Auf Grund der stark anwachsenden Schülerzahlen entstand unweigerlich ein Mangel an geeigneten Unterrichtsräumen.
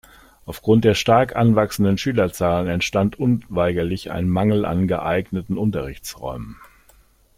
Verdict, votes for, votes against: accepted, 2, 0